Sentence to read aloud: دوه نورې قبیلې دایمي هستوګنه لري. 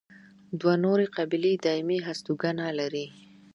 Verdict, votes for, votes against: accepted, 2, 0